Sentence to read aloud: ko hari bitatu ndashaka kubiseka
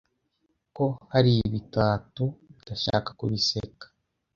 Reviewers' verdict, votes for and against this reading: rejected, 1, 2